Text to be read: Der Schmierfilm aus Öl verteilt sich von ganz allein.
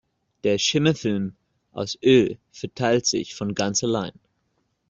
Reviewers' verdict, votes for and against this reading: rejected, 0, 2